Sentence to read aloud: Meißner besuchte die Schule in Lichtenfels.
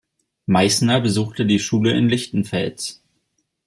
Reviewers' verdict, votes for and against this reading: accepted, 2, 0